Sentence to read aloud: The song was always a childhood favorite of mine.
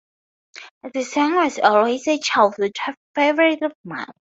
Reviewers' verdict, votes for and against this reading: accepted, 4, 0